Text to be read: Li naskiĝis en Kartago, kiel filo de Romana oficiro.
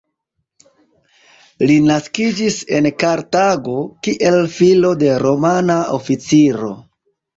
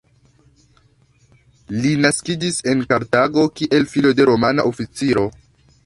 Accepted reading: first